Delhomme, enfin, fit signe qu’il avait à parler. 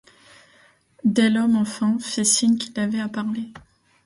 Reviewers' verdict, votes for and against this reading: accepted, 2, 0